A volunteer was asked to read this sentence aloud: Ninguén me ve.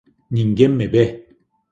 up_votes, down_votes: 2, 0